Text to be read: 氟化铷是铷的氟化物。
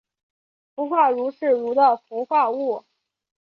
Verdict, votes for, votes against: accepted, 3, 0